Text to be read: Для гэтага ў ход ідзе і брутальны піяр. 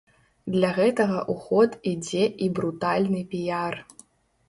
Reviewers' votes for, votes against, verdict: 2, 0, accepted